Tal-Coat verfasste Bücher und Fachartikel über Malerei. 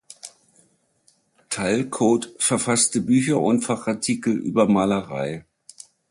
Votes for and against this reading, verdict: 2, 0, accepted